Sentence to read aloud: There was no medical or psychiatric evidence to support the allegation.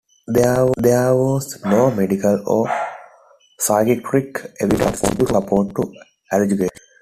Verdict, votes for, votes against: rejected, 0, 2